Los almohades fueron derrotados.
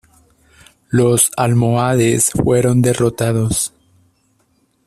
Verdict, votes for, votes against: accepted, 2, 0